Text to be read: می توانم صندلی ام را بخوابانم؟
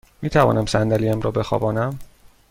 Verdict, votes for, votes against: accepted, 2, 0